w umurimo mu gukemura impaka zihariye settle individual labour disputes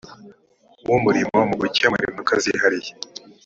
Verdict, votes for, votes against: rejected, 1, 2